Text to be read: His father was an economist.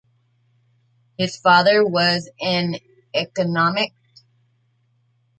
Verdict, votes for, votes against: rejected, 1, 3